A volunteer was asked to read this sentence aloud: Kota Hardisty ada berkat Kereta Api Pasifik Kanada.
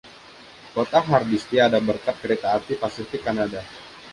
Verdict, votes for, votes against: accepted, 2, 0